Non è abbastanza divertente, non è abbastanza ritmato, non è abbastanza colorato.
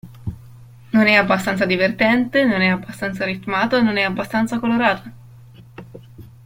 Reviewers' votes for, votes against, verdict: 0, 2, rejected